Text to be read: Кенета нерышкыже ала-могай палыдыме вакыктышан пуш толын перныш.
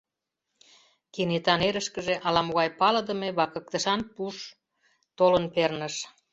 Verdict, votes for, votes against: accepted, 2, 0